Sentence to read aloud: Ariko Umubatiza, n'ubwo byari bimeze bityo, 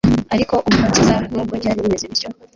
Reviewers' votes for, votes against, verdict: 0, 2, rejected